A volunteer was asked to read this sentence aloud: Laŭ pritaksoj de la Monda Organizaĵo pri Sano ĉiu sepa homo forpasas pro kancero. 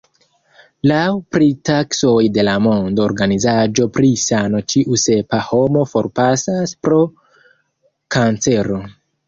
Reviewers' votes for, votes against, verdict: 0, 2, rejected